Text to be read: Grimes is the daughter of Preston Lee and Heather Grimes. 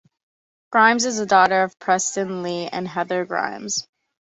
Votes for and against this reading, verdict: 2, 0, accepted